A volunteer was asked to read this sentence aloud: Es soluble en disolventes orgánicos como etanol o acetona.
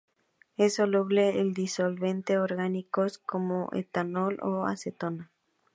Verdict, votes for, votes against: rejected, 0, 2